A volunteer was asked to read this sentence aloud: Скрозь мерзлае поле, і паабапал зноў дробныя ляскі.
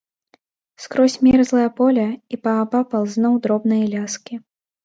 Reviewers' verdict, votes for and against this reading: rejected, 0, 2